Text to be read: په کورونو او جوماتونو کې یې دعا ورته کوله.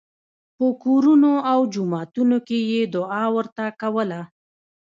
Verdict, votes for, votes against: accepted, 2, 0